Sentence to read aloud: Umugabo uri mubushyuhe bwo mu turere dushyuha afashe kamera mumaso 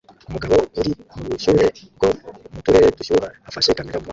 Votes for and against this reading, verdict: 0, 2, rejected